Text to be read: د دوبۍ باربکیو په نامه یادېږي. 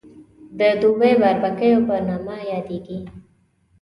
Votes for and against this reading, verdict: 2, 0, accepted